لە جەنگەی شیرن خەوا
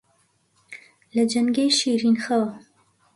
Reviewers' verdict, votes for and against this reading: accepted, 2, 0